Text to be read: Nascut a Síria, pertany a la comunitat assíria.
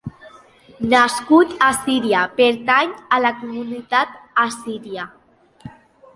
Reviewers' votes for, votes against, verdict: 2, 0, accepted